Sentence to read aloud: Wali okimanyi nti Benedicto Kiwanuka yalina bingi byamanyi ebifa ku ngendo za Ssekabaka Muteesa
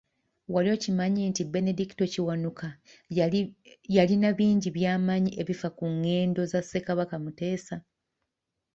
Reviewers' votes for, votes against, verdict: 1, 2, rejected